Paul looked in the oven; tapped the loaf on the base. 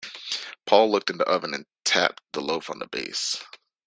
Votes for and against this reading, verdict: 1, 2, rejected